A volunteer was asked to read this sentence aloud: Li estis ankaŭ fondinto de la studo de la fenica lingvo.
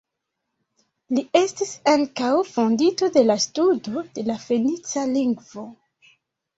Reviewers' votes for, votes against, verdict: 1, 2, rejected